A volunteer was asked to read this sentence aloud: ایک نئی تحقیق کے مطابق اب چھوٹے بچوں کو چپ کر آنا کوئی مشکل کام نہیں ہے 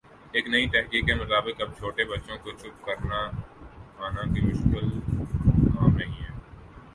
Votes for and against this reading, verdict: 1, 4, rejected